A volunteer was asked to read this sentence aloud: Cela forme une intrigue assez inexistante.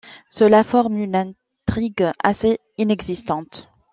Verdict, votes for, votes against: accepted, 2, 1